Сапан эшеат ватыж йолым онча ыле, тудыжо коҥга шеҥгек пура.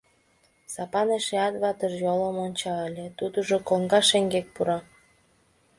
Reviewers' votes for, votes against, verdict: 2, 0, accepted